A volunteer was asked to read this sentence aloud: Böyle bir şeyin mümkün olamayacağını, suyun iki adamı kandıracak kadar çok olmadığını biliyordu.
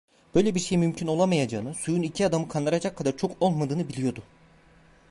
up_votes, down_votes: 1, 2